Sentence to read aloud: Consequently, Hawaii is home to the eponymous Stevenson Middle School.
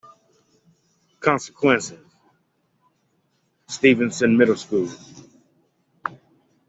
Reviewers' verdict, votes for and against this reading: rejected, 1, 2